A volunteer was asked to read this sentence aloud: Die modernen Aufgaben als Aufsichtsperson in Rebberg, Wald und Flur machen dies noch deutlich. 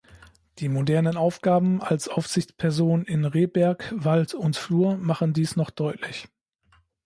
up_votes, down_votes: 2, 0